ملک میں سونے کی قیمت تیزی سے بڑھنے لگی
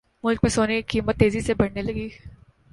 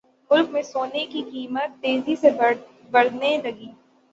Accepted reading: first